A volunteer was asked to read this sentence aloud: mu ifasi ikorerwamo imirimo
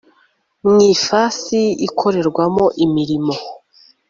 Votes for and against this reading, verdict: 2, 0, accepted